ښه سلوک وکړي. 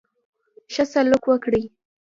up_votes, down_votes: 1, 2